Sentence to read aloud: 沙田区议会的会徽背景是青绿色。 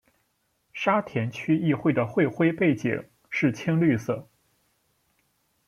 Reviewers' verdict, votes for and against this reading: accepted, 2, 0